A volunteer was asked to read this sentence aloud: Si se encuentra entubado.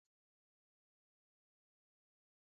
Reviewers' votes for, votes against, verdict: 0, 2, rejected